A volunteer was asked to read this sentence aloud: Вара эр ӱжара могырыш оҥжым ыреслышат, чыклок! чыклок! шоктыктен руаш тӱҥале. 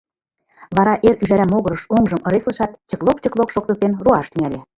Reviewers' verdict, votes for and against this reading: rejected, 1, 2